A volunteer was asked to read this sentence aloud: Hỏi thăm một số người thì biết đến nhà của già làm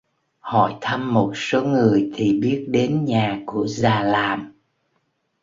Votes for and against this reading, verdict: 2, 0, accepted